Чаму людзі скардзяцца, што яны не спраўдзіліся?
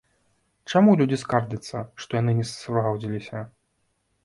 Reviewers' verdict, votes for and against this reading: rejected, 0, 3